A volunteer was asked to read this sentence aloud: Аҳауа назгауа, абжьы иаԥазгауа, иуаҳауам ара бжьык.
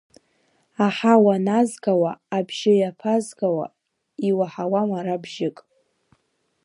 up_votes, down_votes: 1, 2